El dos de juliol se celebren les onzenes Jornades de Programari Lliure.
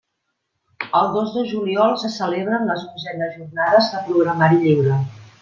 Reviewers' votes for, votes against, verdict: 2, 0, accepted